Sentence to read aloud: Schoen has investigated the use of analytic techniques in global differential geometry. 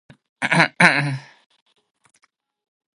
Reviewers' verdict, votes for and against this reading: rejected, 1, 2